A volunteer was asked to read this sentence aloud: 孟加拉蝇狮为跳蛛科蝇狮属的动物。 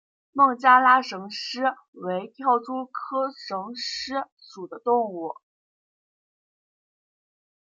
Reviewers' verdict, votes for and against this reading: rejected, 1, 2